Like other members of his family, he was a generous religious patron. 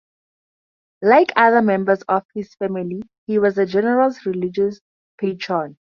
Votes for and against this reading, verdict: 4, 2, accepted